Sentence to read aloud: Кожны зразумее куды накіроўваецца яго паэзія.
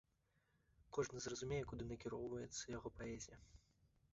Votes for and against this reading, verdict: 2, 0, accepted